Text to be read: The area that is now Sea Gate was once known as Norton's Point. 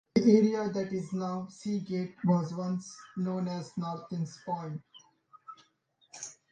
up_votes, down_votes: 2, 0